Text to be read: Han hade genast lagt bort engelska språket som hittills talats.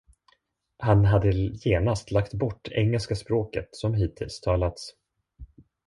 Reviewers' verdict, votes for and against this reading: rejected, 0, 2